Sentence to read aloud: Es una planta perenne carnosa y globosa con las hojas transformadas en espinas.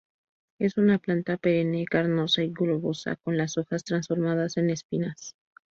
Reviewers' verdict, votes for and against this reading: rejected, 0, 2